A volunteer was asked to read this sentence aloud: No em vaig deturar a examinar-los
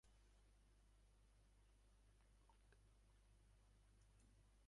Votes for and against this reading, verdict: 0, 2, rejected